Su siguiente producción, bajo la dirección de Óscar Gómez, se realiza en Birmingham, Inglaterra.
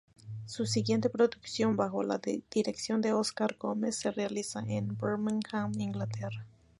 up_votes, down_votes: 2, 0